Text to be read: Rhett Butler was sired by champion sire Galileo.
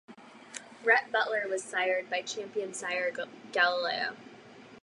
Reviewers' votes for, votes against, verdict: 2, 4, rejected